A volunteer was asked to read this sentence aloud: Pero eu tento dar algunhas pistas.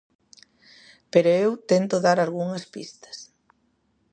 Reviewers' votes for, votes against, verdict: 2, 0, accepted